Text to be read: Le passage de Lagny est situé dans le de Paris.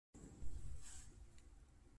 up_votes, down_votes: 0, 2